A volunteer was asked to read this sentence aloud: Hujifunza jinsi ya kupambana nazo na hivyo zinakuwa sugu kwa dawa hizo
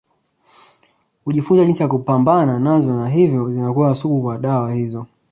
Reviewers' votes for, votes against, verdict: 2, 0, accepted